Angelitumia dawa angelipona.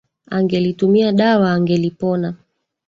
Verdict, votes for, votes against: accepted, 3, 1